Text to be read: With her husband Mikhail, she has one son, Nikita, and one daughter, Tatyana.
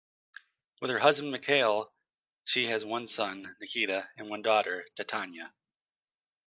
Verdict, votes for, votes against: rejected, 0, 2